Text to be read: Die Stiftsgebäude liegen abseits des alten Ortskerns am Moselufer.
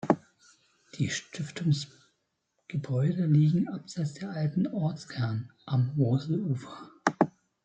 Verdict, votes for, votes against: rejected, 0, 2